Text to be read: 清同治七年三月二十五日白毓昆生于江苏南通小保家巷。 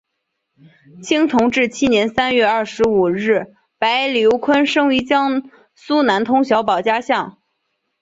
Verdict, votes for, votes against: accepted, 3, 2